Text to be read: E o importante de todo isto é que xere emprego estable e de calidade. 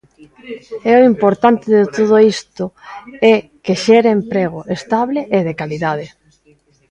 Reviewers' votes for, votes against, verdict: 2, 1, accepted